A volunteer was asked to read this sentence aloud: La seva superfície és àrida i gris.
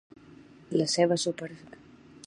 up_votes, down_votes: 1, 2